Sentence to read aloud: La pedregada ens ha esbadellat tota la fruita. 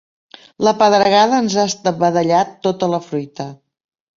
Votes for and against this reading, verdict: 1, 2, rejected